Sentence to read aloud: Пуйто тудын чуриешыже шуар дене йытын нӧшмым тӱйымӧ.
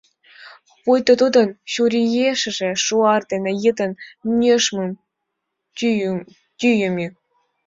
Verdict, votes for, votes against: rejected, 1, 2